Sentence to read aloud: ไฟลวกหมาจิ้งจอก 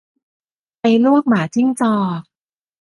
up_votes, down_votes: 2, 0